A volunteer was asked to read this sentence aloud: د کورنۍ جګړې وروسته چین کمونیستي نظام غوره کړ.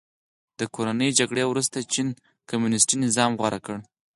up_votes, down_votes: 6, 0